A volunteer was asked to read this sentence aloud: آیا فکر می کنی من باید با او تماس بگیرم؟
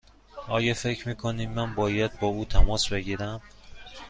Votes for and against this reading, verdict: 2, 0, accepted